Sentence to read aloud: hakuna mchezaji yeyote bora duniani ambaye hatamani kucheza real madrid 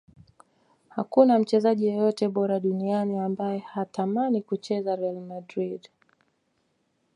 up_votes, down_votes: 2, 0